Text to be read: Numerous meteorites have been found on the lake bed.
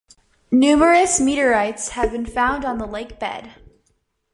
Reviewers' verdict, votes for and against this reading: accepted, 2, 0